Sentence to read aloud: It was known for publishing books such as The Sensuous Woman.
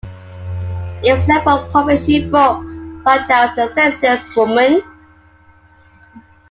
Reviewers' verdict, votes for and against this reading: rejected, 1, 2